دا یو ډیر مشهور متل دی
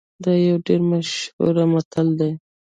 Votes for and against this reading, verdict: 0, 2, rejected